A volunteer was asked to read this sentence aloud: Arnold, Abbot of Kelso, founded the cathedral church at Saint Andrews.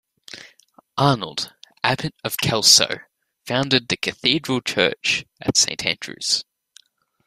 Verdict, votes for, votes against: accepted, 2, 0